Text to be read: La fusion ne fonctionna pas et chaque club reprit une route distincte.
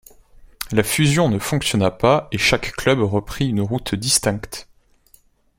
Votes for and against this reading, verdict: 2, 0, accepted